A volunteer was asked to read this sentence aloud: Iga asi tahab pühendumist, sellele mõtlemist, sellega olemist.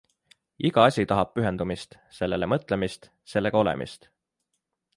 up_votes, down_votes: 3, 0